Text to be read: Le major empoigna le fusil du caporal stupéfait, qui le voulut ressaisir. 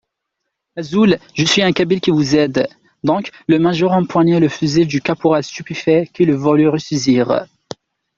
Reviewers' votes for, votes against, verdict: 0, 2, rejected